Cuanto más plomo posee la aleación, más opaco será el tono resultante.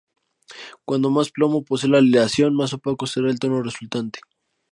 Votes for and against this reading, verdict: 4, 0, accepted